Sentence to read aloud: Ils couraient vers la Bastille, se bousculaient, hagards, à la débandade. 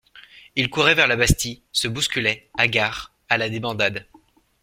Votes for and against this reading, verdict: 2, 0, accepted